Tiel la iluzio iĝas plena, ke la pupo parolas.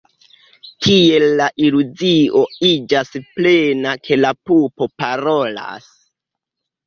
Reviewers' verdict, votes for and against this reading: accepted, 2, 0